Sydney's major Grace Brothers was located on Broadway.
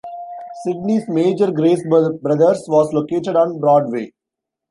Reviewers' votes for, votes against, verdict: 1, 2, rejected